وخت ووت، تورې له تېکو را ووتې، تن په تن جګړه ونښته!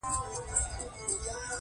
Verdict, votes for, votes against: rejected, 1, 2